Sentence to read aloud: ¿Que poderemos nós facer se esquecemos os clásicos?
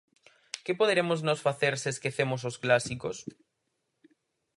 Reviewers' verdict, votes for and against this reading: accepted, 4, 0